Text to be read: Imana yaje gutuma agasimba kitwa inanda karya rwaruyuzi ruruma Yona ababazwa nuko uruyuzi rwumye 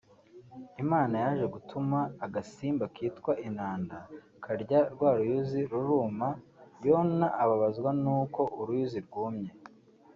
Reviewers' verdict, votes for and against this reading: accepted, 2, 1